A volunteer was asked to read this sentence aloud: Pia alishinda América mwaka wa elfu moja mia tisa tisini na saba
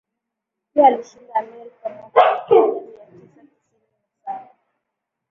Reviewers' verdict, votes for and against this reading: rejected, 0, 2